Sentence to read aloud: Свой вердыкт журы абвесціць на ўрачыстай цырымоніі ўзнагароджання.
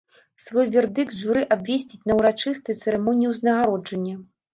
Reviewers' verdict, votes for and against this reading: accepted, 2, 0